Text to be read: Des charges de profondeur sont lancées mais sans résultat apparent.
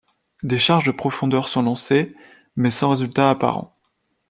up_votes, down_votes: 2, 0